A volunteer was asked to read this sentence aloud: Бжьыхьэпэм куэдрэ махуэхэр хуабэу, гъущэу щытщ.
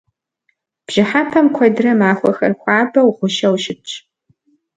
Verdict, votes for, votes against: accepted, 2, 0